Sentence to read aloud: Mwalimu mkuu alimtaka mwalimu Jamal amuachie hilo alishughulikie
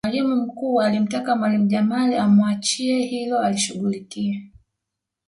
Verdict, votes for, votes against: rejected, 1, 2